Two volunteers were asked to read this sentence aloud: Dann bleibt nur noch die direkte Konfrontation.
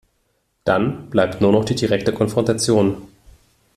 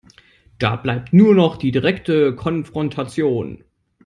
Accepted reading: first